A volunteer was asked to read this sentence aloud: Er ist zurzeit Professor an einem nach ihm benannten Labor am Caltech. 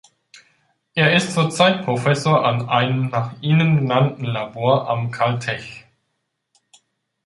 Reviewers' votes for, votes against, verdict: 0, 2, rejected